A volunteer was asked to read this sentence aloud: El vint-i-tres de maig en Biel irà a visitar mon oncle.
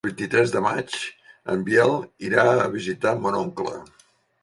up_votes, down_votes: 1, 2